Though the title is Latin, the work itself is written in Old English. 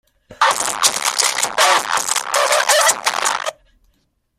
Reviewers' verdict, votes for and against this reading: rejected, 0, 2